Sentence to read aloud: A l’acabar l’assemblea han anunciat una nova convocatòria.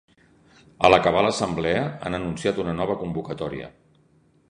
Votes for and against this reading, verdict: 2, 0, accepted